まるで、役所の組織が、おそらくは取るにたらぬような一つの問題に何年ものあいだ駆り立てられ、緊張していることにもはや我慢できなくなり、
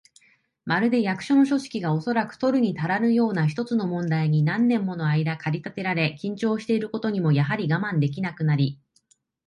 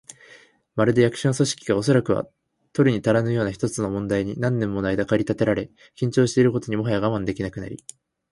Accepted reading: second